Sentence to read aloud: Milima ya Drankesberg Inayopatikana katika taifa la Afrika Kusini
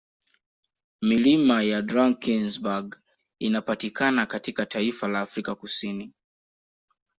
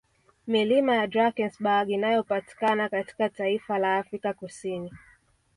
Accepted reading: first